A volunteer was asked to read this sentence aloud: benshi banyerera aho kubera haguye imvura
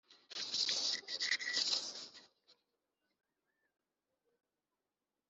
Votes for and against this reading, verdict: 0, 2, rejected